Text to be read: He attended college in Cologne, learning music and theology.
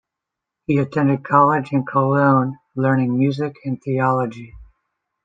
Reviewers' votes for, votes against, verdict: 2, 0, accepted